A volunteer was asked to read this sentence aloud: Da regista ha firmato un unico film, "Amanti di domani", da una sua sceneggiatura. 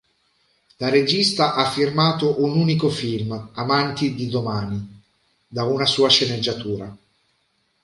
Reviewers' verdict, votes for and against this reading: accepted, 2, 0